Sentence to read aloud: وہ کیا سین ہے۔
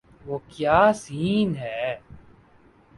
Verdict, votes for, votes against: accepted, 4, 0